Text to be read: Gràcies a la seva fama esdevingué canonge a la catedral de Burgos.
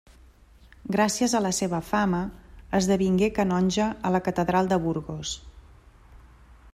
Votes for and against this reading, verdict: 3, 0, accepted